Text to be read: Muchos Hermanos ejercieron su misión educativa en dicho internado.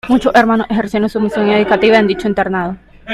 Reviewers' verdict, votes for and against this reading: accepted, 2, 0